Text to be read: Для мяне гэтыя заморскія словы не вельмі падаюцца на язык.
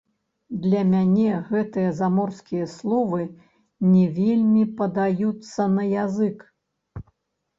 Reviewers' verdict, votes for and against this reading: rejected, 1, 2